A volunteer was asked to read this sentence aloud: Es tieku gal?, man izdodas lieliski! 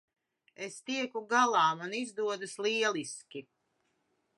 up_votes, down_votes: 1, 2